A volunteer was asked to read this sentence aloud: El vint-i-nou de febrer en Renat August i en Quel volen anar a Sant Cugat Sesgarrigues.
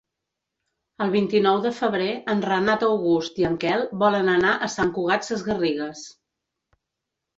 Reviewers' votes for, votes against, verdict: 3, 0, accepted